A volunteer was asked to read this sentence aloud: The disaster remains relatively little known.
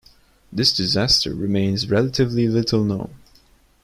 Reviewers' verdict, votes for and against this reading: rejected, 0, 2